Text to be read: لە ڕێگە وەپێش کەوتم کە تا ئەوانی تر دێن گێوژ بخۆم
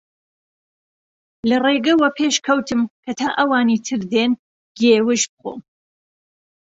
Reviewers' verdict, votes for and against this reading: accepted, 2, 0